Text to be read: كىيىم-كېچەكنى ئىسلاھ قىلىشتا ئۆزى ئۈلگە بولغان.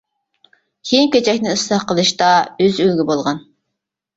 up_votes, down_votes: 1, 2